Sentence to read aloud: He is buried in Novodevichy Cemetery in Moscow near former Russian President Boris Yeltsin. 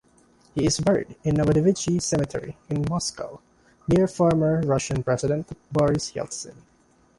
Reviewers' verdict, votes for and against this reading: accepted, 2, 0